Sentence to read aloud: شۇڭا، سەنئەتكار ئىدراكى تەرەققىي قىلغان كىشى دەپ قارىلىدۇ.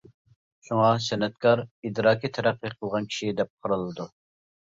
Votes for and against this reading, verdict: 2, 0, accepted